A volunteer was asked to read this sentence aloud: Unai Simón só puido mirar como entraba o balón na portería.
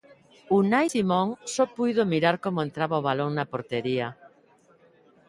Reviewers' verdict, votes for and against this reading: accepted, 2, 0